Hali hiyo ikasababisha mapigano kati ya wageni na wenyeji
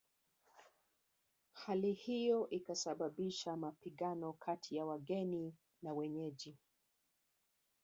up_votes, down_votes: 2, 0